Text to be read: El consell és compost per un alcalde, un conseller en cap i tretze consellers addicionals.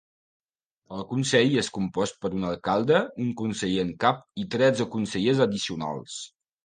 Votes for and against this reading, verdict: 2, 0, accepted